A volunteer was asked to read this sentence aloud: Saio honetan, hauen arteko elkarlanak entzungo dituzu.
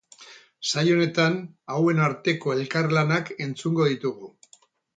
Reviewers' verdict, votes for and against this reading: rejected, 0, 2